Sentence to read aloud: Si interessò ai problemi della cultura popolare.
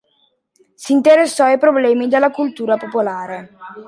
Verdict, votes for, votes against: accepted, 2, 0